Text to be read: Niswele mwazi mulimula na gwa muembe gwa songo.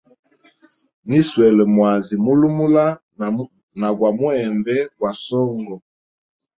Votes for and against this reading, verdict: 1, 2, rejected